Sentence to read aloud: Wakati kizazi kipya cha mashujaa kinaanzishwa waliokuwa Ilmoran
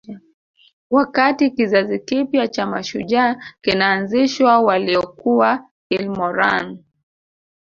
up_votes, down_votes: 1, 2